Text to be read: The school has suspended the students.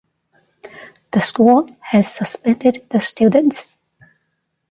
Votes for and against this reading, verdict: 1, 2, rejected